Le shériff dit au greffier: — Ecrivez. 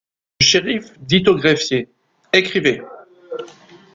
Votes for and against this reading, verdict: 1, 2, rejected